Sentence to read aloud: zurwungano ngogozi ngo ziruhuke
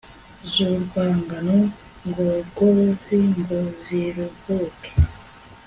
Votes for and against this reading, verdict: 2, 0, accepted